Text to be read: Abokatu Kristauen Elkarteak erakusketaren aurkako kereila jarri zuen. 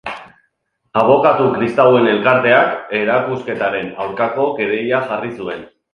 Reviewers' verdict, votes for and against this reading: accepted, 2, 0